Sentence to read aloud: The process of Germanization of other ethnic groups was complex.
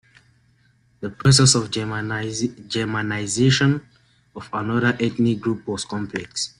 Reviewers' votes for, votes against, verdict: 0, 2, rejected